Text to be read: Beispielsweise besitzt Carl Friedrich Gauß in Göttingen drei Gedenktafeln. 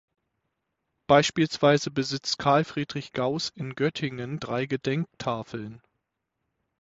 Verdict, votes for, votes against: accepted, 6, 0